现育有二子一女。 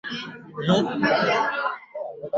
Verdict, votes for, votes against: rejected, 1, 2